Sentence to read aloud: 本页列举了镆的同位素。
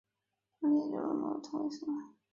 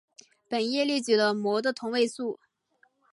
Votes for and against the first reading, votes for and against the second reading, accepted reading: 0, 2, 2, 0, second